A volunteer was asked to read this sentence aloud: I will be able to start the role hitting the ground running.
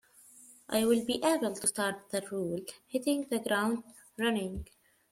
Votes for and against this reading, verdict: 2, 1, accepted